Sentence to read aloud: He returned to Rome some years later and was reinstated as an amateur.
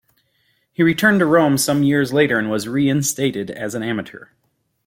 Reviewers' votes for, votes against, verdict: 2, 0, accepted